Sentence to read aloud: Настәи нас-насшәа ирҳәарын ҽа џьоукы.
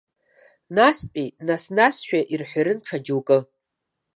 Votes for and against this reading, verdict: 2, 0, accepted